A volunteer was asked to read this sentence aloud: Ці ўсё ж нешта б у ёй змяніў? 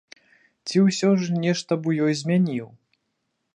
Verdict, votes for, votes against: accepted, 2, 0